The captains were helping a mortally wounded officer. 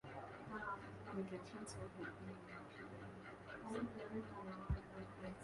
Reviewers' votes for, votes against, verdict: 0, 2, rejected